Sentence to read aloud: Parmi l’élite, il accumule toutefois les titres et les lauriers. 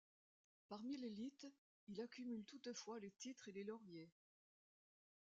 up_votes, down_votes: 2, 0